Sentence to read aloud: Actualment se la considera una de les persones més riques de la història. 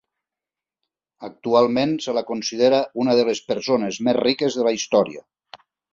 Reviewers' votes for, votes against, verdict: 3, 0, accepted